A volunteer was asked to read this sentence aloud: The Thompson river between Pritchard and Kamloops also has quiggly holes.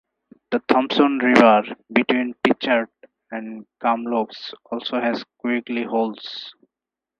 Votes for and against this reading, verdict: 4, 2, accepted